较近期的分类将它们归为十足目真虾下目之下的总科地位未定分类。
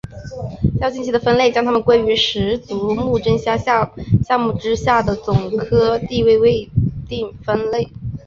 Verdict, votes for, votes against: accepted, 4, 0